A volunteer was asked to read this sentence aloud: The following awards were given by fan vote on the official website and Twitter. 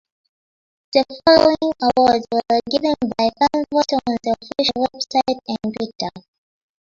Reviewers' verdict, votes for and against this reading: rejected, 0, 2